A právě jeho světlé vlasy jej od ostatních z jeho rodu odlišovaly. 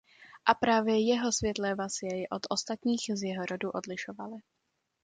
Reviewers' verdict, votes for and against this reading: accepted, 2, 0